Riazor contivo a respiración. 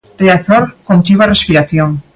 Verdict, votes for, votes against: accepted, 2, 0